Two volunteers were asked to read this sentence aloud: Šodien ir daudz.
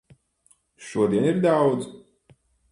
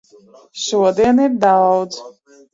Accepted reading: first